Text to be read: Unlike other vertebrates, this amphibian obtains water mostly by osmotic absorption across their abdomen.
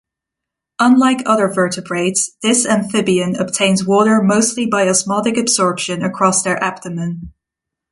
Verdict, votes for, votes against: accepted, 2, 0